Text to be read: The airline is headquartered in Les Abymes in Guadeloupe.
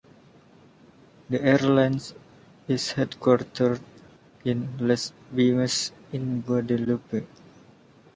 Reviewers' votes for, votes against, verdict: 2, 1, accepted